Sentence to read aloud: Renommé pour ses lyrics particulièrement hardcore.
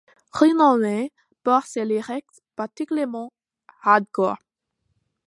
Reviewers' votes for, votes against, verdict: 2, 1, accepted